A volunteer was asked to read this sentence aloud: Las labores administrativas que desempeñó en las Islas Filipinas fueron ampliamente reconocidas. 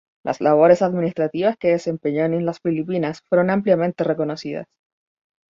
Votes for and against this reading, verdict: 2, 2, rejected